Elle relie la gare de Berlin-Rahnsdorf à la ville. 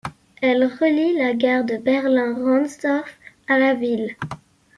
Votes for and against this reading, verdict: 2, 0, accepted